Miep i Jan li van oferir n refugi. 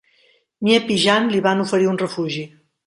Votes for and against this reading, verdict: 2, 1, accepted